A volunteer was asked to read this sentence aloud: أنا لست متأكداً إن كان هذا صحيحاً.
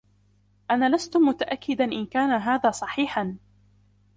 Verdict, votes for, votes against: accepted, 2, 0